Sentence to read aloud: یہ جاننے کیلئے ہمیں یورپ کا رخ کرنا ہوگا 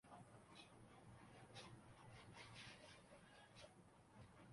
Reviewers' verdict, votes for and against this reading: rejected, 0, 2